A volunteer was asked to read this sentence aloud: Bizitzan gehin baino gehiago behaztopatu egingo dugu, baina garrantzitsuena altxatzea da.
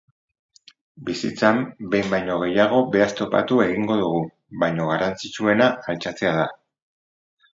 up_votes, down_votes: 2, 2